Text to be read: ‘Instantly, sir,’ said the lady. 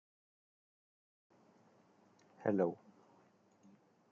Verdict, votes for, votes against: rejected, 0, 2